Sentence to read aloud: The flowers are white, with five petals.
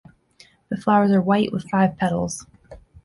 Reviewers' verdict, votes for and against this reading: accepted, 2, 1